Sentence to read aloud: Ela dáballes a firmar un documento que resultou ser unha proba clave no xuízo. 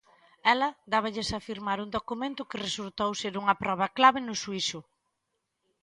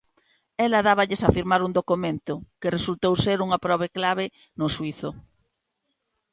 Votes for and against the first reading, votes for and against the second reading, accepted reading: 2, 0, 1, 2, first